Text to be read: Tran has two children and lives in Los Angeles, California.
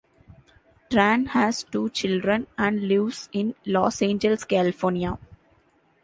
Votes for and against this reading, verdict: 2, 1, accepted